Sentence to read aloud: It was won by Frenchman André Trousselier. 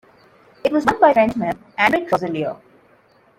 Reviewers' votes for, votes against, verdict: 0, 2, rejected